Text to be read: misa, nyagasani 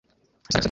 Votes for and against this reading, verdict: 1, 2, rejected